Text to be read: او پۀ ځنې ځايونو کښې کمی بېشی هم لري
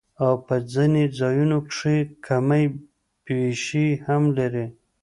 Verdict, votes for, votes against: rejected, 1, 2